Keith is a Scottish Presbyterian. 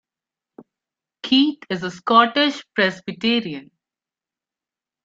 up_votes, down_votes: 2, 1